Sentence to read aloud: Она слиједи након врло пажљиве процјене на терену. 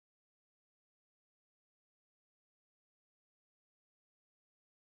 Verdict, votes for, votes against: rejected, 0, 2